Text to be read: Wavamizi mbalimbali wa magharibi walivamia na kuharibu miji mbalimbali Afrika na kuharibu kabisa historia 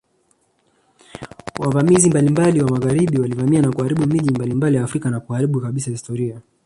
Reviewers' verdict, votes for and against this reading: rejected, 1, 2